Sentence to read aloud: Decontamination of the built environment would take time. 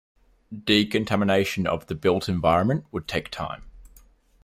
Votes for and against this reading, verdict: 2, 0, accepted